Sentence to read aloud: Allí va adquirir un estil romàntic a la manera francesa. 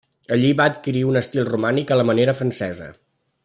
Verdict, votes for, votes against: rejected, 1, 2